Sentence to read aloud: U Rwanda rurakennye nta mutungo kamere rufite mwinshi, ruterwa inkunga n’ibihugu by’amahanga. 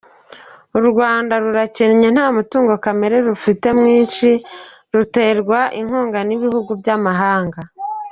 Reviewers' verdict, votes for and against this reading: accepted, 2, 0